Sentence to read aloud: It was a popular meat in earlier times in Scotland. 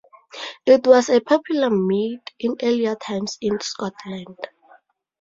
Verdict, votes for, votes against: rejected, 2, 2